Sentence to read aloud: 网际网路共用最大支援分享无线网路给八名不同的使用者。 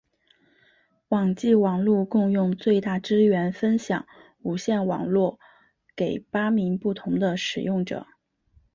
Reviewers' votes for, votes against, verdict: 1, 2, rejected